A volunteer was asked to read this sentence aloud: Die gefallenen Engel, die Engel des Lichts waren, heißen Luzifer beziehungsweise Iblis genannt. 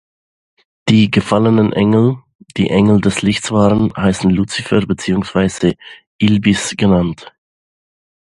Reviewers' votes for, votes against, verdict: 0, 2, rejected